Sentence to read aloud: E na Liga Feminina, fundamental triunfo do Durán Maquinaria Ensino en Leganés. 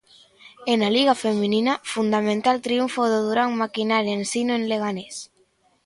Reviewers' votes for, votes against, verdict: 2, 0, accepted